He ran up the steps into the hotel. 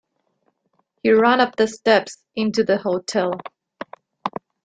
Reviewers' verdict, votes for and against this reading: accepted, 2, 0